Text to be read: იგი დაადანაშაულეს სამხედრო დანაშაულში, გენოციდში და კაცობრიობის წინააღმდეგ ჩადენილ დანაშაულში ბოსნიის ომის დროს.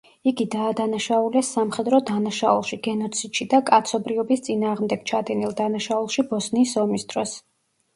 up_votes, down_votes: 2, 0